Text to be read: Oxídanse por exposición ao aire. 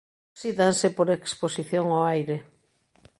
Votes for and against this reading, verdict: 1, 2, rejected